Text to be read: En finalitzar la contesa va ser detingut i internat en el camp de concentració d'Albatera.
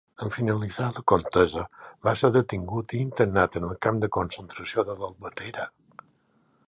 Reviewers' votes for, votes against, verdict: 0, 2, rejected